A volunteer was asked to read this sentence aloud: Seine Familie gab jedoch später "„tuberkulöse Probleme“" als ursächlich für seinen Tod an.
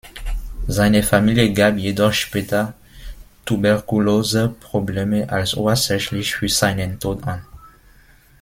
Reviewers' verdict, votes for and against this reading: rejected, 0, 2